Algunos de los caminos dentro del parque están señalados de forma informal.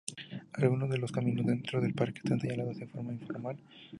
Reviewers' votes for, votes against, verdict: 0, 2, rejected